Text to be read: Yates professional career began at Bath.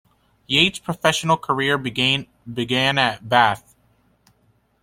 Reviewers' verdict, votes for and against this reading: rejected, 1, 2